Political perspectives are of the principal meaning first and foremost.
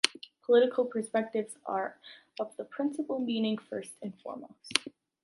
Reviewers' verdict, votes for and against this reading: accepted, 2, 1